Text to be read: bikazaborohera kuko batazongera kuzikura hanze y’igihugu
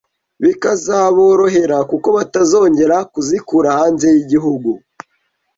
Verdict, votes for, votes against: accepted, 2, 0